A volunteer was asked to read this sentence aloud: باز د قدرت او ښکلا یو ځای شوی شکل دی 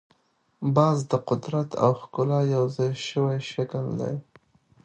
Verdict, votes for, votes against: accepted, 2, 0